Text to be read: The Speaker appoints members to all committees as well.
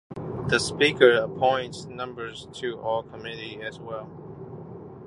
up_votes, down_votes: 0, 2